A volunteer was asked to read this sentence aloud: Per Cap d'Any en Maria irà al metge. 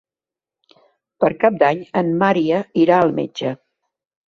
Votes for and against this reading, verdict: 1, 2, rejected